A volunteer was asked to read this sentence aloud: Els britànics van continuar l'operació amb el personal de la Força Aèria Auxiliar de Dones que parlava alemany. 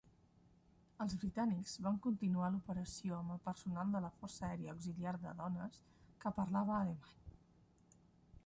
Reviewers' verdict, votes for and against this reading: rejected, 0, 2